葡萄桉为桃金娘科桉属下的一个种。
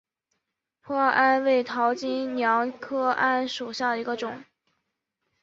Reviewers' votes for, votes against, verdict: 2, 0, accepted